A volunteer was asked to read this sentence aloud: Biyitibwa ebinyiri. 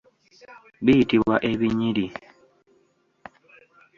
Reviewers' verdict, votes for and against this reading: accepted, 2, 0